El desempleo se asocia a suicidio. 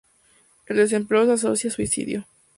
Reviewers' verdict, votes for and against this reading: accepted, 2, 0